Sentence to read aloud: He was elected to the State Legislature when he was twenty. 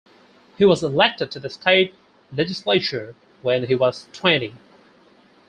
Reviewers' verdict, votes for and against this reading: accepted, 4, 2